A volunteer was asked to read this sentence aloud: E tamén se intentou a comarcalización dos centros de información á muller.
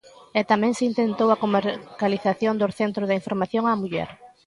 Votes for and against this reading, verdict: 0, 2, rejected